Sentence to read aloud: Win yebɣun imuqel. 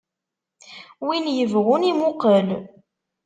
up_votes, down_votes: 2, 0